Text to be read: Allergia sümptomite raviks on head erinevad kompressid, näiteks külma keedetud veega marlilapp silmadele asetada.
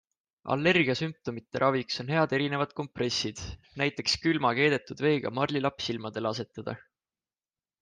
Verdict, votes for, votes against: accepted, 2, 0